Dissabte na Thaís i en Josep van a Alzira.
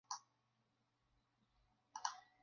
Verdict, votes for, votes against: rejected, 0, 2